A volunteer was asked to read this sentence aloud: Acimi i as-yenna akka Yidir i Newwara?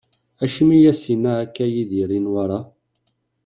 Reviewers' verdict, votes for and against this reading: accepted, 2, 0